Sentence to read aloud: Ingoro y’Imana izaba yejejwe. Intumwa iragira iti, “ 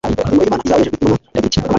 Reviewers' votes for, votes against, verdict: 0, 2, rejected